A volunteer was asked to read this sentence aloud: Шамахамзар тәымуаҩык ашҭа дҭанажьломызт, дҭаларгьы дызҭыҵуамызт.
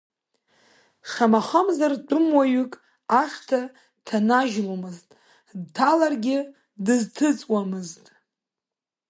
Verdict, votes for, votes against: accepted, 2, 1